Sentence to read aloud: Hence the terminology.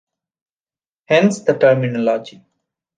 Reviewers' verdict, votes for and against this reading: rejected, 1, 2